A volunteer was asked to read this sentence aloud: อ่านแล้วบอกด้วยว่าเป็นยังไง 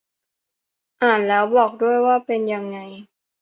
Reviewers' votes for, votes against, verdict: 2, 0, accepted